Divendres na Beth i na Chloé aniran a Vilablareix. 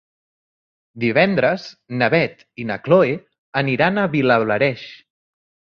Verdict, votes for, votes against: rejected, 1, 2